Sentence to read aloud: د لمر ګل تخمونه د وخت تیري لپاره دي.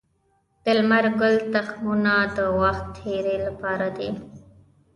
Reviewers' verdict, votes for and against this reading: accepted, 2, 0